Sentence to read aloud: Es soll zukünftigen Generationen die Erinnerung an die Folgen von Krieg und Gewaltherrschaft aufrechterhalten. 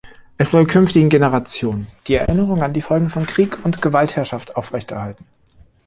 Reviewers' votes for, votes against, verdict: 2, 0, accepted